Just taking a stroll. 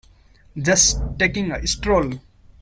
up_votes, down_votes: 1, 2